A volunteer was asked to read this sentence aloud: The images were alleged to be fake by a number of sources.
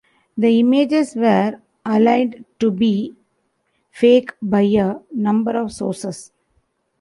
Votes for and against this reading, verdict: 0, 2, rejected